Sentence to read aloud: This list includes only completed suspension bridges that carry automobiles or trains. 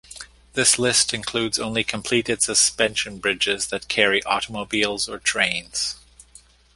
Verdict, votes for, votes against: accepted, 2, 0